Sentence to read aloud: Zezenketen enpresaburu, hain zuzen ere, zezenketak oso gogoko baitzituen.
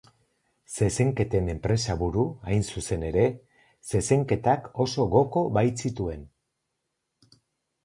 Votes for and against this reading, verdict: 2, 4, rejected